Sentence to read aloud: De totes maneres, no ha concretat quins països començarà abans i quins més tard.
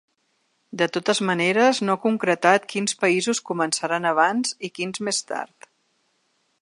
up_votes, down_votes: 1, 3